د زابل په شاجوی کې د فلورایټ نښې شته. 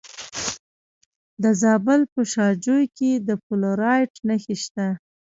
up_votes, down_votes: 1, 2